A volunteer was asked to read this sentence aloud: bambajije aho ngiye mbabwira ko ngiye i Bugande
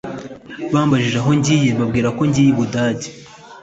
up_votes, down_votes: 0, 2